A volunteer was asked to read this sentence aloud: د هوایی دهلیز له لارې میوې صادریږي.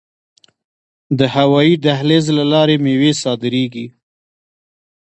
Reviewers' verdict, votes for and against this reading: rejected, 1, 2